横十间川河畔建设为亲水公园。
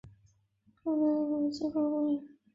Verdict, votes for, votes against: rejected, 0, 2